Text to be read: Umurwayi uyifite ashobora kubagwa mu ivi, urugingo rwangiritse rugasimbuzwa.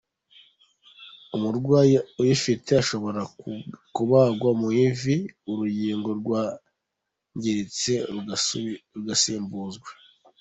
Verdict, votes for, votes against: rejected, 0, 2